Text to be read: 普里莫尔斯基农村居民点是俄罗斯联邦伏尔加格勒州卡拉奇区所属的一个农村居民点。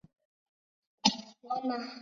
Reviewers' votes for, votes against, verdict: 0, 2, rejected